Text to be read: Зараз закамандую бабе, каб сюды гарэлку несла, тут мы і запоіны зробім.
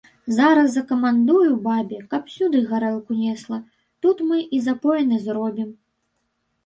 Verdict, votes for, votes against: rejected, 0, 2